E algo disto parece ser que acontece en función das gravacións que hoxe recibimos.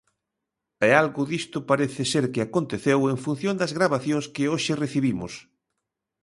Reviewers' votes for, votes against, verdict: 0, 2, rejected